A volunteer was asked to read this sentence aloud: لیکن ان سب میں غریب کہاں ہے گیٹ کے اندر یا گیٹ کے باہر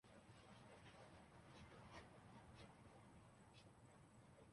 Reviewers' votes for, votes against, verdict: 5, 8, rejected